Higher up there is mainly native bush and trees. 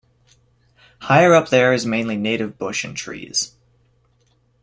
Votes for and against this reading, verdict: 2, 0, accepted